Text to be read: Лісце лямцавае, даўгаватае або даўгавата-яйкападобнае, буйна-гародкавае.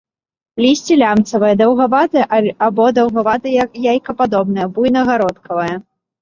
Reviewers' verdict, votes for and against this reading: rejected, 0, 2